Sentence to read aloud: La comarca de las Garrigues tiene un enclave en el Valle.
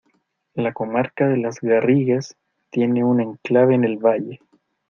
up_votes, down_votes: 2, 0